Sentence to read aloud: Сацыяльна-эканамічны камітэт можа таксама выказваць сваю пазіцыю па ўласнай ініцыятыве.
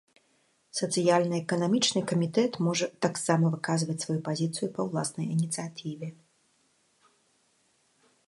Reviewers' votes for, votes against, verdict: 2, 0, accepted